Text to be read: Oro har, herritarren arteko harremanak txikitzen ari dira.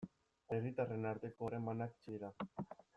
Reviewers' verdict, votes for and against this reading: rejected, 0, 2